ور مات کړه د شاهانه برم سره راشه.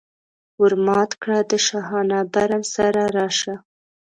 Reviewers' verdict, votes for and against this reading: accepted, 3, 1